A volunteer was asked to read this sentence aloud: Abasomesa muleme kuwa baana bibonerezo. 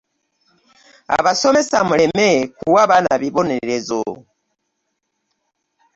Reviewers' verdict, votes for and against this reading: accepted, 2, 0